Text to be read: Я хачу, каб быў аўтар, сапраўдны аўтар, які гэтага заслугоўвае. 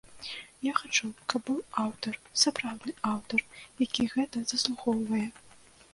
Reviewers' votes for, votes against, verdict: 1, 2, rejected